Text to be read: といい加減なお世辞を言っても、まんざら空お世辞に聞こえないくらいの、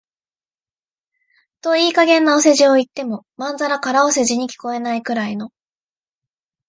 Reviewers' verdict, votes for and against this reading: accepted, 2, 0